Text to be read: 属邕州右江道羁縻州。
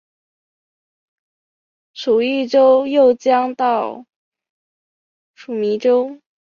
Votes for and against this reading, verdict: 1, 3, rejected